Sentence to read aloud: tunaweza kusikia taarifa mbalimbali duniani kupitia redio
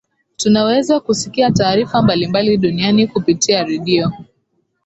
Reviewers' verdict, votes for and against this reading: accepted, 5, 0